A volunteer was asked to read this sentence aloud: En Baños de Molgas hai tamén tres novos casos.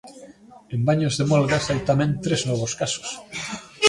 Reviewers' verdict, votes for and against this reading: accepted, 2, 0